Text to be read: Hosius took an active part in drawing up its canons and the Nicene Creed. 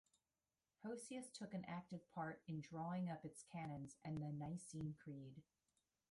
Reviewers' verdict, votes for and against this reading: rejected, 0, 2